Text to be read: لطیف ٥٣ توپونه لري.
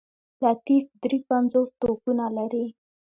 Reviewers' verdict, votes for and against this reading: rejected, 0, 2